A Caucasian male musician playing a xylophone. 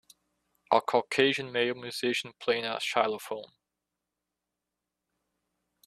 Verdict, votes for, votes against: rejected, 1, 2